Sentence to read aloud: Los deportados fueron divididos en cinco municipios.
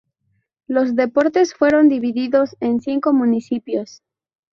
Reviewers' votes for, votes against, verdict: 0, 2, rejected